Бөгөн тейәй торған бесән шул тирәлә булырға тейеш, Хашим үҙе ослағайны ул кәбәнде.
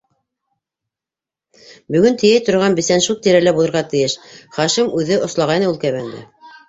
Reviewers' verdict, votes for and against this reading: rejected, 0, 2